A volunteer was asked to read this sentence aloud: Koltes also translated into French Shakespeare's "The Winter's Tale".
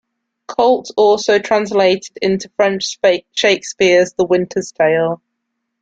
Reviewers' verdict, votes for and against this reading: accepted, 2, 1